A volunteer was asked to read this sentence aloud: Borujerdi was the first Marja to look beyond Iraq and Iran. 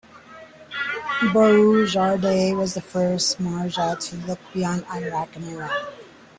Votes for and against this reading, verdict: 0, 2, rejected